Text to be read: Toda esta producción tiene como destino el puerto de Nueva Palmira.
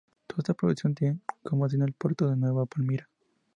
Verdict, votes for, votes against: rejected, 0, 2